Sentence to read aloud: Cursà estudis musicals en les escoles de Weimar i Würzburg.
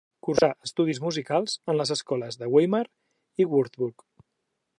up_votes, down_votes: 2, 0